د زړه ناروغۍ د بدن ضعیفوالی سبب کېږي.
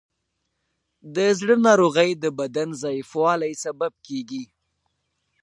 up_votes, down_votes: 2, 1